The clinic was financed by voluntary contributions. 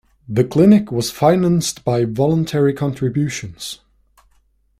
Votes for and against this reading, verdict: 2, 0, accepted